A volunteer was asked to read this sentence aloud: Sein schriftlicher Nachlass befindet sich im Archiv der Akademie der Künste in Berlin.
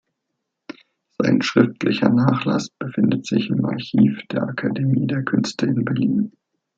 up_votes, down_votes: 2, 1